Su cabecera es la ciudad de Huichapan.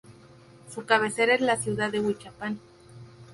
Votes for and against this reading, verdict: 0, 2, rejected